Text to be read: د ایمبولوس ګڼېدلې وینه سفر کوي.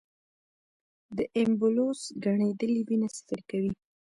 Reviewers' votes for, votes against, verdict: 2, 0, accepted